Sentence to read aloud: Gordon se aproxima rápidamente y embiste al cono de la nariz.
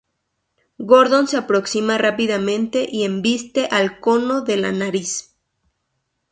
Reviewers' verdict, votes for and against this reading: accepted, 2, 0